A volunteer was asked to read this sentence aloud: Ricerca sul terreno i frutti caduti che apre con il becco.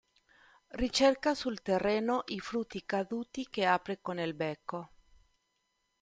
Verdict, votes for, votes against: rejected, 1, 2